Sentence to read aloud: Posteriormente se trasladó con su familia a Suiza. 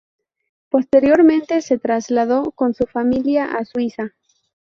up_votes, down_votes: 2, 0